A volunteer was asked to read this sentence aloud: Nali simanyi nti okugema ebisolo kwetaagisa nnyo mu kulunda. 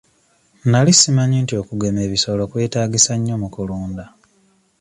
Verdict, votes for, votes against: accepted, 2, 0